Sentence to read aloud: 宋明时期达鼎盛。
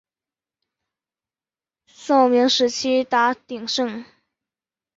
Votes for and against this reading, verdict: 4, 0, accepted